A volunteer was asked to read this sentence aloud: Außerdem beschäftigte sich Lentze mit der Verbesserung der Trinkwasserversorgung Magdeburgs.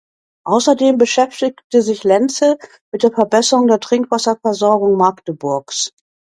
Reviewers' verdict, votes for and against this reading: accepted, 2, 0